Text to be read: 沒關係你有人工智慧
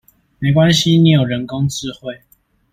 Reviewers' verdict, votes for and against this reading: accepted, 2, 0